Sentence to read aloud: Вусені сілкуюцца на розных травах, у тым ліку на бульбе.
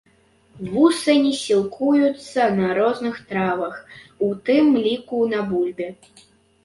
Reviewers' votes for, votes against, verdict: 0, 2, rejected